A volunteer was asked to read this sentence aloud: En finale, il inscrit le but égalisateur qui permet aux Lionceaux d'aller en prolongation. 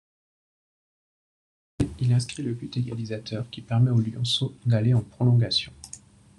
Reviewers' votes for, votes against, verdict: 1, 2, rejected